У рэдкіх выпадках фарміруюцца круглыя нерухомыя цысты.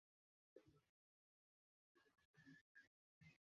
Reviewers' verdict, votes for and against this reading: rejected, 0, 2